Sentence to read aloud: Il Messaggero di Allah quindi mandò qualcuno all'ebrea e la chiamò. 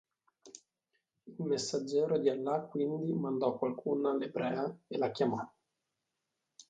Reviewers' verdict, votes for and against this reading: accepted, 2, 0